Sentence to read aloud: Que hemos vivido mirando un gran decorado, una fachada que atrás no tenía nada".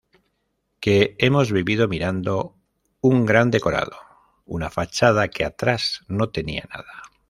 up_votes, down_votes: 2, 0